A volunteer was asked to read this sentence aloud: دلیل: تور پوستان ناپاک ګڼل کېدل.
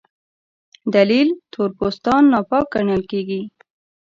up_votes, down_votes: 0, 2